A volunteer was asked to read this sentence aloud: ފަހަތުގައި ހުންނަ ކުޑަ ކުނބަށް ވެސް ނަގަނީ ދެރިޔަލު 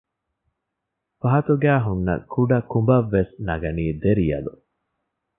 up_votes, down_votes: 2, 0